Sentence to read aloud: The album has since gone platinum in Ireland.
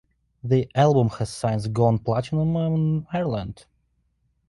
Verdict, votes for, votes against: rejected, 0, 2